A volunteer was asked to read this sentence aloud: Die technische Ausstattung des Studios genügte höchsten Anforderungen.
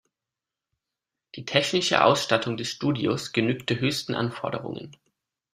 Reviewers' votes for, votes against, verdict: 2, 0, accepted